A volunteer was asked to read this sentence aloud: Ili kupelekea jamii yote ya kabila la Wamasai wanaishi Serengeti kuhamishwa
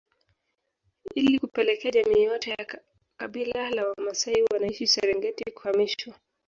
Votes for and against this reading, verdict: 2, 4, rejected